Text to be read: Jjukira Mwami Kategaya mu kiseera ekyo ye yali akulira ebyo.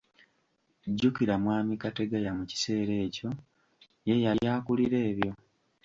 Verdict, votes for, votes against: accepted, 2, 0